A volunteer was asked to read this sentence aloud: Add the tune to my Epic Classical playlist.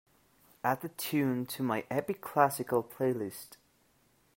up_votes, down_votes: 2, 0